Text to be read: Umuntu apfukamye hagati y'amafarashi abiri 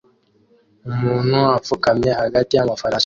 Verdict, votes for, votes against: rejected, 0, 2